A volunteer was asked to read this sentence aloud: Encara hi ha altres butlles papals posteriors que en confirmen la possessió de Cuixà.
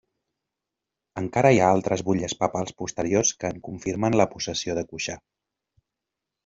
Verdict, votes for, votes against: accepted, 2, 0